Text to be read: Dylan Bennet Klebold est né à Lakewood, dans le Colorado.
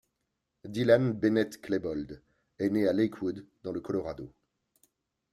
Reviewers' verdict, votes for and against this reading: accepted, 2, 1